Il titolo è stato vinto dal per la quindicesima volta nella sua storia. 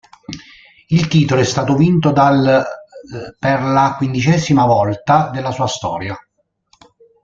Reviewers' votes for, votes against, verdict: 0, 2, rejected